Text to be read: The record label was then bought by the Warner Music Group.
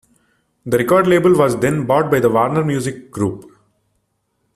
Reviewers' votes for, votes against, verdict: 2, 1, accepted